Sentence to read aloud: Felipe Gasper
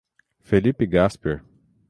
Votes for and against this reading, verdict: 6, 0, accepted